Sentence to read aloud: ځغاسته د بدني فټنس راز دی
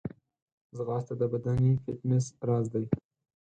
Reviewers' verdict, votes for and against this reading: accepted, 4, 0